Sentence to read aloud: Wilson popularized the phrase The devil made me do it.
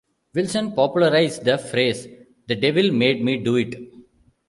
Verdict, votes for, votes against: accepted, 2, 0